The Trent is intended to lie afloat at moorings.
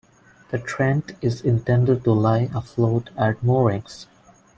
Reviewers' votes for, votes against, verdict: 1, 2, rejected